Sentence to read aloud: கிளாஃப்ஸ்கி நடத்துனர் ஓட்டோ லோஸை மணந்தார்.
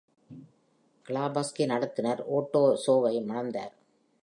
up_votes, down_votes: 1, 2